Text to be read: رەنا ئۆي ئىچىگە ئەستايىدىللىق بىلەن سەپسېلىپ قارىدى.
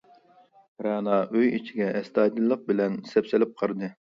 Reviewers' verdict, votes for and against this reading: accepted, 3, 0